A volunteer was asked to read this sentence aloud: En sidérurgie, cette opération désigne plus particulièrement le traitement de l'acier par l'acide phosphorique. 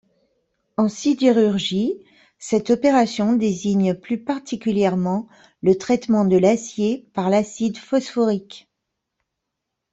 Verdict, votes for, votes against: accepted, 2, 0